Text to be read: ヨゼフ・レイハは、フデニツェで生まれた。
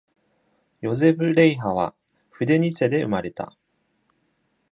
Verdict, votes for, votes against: accepted, 2, 0